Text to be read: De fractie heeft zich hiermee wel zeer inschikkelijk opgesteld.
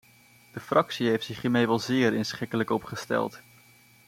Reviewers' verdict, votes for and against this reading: accepted, 2, 0